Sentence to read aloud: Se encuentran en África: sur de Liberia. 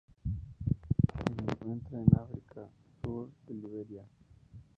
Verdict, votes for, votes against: rejected, 0, 2